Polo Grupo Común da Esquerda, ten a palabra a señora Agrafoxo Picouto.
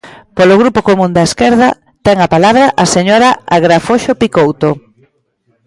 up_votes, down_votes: 2, 0